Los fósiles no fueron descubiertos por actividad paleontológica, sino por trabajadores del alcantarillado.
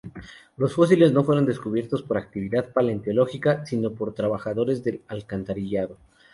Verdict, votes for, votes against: rejected, 0, 2